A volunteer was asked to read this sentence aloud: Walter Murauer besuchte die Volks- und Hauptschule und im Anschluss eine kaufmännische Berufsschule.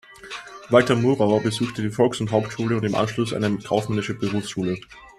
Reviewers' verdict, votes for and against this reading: accepted, 2, 0